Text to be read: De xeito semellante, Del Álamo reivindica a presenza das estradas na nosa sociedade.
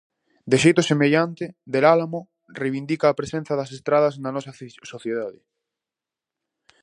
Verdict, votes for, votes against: rejected, 0, 4